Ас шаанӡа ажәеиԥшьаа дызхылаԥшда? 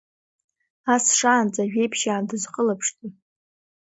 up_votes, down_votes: 2, 1